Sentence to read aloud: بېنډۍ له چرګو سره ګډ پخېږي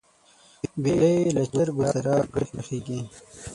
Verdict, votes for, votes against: rejected, 0, 6